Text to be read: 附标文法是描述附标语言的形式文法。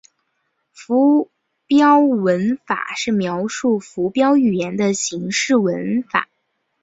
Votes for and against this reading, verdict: 4, 1, accepted